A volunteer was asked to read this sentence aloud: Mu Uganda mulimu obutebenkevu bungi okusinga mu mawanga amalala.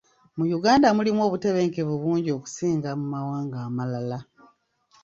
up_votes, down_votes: 2, 1